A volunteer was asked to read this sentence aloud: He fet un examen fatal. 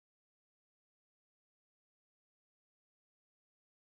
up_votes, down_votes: 0, 2